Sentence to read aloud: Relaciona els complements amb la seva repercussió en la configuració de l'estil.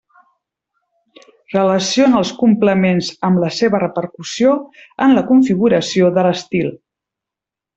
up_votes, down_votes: 3, 1